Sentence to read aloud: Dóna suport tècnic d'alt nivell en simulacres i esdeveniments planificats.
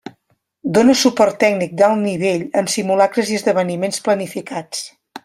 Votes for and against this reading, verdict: 2, 0, accepted